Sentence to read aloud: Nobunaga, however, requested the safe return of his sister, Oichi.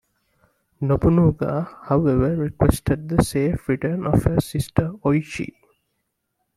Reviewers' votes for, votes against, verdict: 2, 0, accepted